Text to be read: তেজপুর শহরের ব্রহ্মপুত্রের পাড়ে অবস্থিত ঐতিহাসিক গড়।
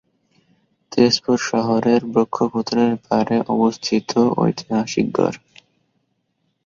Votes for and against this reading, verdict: 3, 5, rejected